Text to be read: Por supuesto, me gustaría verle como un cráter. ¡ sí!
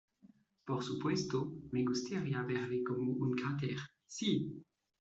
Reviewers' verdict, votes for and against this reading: accepted, 2, 0